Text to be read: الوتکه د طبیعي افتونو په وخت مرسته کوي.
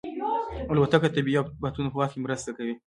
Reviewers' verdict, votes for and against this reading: accepted, 3, 1